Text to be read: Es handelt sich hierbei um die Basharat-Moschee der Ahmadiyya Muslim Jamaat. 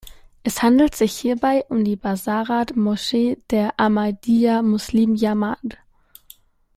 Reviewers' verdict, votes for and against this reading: rejected, 1, 2